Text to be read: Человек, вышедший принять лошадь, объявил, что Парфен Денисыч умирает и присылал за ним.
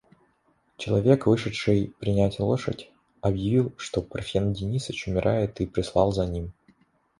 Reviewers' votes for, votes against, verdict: 1, 2, rejected